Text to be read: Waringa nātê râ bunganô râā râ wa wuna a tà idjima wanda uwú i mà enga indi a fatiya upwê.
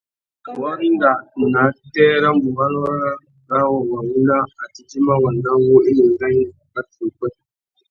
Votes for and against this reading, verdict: 1, 2, rejected